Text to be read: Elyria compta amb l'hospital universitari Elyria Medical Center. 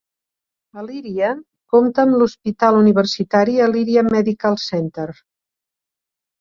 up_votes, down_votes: 2, 0